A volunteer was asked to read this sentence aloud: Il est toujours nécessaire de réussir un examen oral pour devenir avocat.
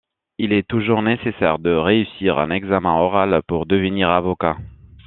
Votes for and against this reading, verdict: 2, 0, accepted